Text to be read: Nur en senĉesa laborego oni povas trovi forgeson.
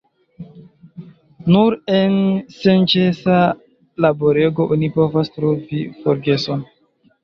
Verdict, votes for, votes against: accepted, 2, 0